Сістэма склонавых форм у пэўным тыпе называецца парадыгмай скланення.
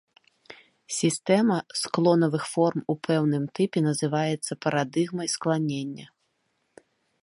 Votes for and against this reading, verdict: 2, 0, accepted